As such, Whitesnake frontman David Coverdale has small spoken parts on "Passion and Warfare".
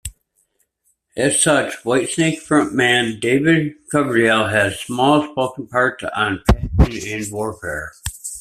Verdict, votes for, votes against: rejected, 0, 2